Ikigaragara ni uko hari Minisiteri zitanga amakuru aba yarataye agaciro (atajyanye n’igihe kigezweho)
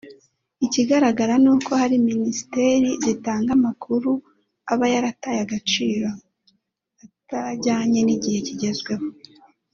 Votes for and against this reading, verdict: 2, 0, accepted